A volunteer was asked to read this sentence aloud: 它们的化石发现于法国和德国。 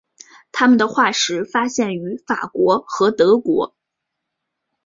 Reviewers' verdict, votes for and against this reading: accepted, 2, 0